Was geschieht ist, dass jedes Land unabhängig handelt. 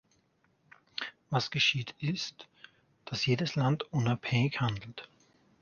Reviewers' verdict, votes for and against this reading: accepted, 4, 0